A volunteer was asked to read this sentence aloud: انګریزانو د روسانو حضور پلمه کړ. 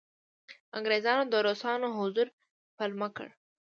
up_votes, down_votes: 1, 2